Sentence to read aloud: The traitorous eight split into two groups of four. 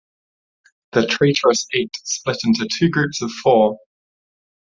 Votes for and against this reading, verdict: 1, 2, rejected